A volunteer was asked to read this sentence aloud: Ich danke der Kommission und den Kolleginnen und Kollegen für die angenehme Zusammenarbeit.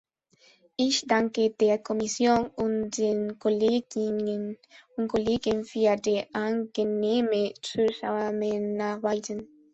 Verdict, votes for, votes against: rejected, 0, 2